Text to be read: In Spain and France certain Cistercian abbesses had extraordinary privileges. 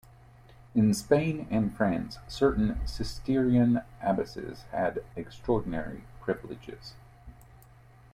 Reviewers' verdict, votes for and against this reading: rejected, 1, 2